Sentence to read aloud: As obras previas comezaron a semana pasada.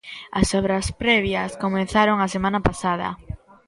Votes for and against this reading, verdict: 2, 1, accepted